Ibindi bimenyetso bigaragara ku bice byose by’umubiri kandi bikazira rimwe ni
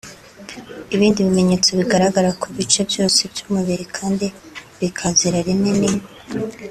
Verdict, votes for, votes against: accepted, 2, 0